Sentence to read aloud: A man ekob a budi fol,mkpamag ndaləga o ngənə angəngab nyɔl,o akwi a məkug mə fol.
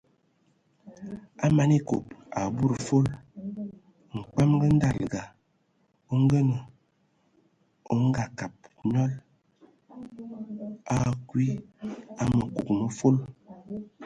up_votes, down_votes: 2, 0